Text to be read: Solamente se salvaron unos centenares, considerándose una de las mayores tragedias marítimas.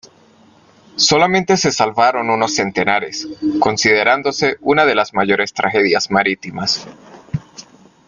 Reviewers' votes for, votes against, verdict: 2, 0, accepted